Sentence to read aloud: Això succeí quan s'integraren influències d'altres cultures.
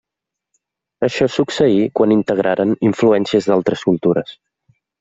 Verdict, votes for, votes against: rejected, 0, 2